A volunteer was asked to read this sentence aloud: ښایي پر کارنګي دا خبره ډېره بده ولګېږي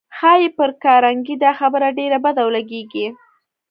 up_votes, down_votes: 0, 2